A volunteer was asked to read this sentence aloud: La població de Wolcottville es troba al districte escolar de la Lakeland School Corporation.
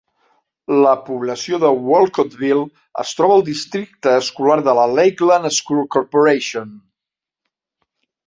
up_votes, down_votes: 2, 0